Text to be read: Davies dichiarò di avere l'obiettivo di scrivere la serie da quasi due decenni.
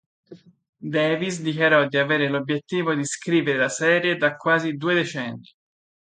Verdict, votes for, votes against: accepted, 2, 0